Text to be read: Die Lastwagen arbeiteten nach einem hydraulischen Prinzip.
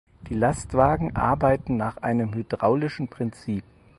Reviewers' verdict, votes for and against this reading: rejected, 2, 4